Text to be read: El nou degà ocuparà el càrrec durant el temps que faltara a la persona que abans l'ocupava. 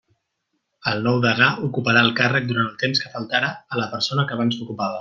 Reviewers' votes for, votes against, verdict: 2, 0, accepted